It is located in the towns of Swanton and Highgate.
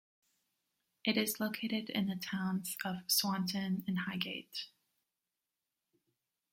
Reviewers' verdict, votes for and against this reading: rejected, 1, 2